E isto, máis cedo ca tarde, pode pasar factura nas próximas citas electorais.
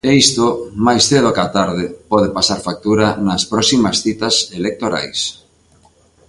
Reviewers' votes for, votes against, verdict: 2, 0, accepted